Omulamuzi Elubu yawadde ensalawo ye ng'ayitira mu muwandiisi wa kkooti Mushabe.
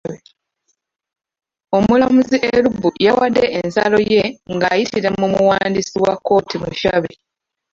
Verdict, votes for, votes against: rejected, 0, 2